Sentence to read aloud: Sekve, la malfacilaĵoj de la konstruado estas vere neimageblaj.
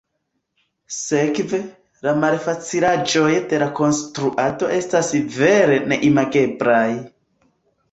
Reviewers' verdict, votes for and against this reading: rejected, 0, 2